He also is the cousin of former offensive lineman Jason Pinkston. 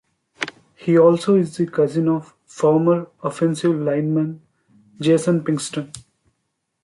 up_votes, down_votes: 2, 0